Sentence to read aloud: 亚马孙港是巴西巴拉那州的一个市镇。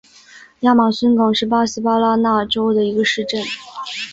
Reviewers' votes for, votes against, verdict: 2, 0, accepted